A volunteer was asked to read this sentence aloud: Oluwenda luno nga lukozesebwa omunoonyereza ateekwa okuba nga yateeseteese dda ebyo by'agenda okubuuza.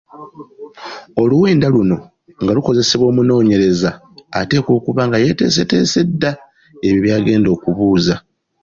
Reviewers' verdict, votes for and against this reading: accepted, 2, 0